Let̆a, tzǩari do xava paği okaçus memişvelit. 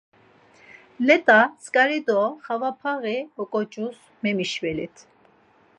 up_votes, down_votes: 0, 4